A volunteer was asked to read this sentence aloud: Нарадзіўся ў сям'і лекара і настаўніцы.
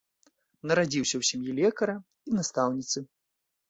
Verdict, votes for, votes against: accepted, 2, 0